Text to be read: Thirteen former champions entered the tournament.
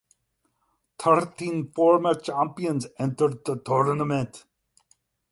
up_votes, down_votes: 8, 0